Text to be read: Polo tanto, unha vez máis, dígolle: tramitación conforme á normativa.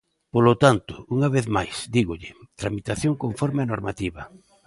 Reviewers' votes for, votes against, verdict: 2, 0, accepted